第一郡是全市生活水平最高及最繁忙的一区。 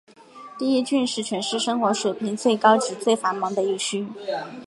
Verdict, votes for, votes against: accepted, 2, 1